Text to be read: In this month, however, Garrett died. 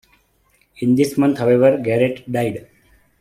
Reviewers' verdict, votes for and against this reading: accepted, 2, 0